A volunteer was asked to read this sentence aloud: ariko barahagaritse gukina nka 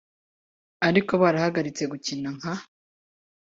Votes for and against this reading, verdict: 2, 0, accepted